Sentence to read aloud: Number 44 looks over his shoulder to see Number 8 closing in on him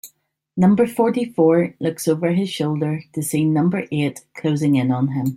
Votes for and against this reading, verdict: 0, 2, rejected